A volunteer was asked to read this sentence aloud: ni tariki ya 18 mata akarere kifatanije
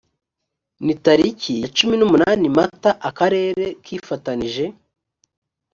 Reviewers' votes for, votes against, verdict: 0, 2, rejected